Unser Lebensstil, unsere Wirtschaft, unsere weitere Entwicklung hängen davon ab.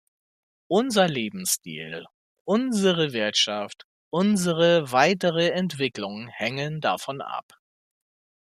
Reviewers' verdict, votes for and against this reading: accepted, 2, 0